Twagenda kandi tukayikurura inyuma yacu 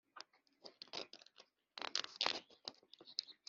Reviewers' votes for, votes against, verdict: 0, 2, rejected